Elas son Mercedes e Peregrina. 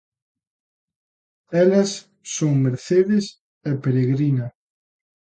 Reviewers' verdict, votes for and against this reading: accepted, 2, 0